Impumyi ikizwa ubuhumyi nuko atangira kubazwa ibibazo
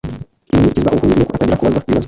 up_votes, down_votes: 2, 0